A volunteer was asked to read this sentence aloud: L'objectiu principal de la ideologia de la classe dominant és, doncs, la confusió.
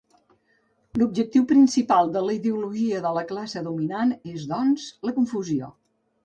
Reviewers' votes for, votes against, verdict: 4, 0, accepted